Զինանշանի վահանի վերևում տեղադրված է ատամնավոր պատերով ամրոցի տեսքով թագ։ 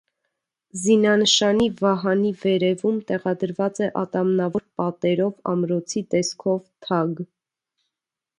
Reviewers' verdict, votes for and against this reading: accepted, 2, 0